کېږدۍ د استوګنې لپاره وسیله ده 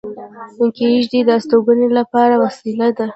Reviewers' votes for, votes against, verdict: 2, 0, accepted